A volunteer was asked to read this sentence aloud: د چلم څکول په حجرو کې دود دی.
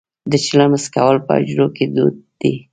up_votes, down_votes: 1, 2